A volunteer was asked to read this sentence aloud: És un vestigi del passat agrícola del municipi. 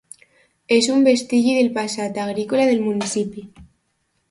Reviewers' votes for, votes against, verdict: 2, 0, accepted